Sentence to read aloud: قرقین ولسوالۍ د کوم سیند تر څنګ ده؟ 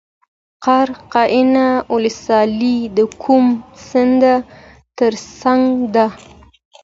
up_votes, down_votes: 2, 0